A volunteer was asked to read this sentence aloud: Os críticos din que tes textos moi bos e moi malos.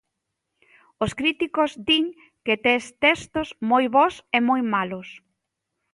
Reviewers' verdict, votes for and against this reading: accepted, 2, 0